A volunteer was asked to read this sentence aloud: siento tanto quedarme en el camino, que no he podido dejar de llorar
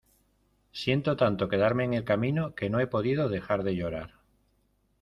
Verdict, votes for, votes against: accepted, 2, 0